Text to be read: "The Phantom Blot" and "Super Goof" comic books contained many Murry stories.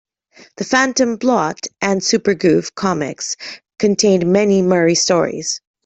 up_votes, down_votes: 1, 2